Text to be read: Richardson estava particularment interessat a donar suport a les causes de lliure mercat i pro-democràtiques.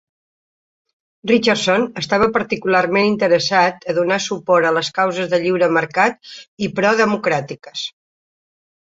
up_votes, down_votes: 2, 0